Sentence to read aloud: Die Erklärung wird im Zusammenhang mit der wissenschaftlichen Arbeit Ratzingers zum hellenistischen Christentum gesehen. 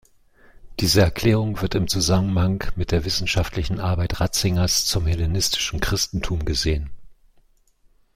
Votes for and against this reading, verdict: 0, 2, rejected